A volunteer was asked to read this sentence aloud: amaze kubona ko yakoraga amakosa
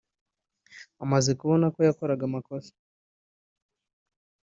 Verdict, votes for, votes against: accepted, 2, 1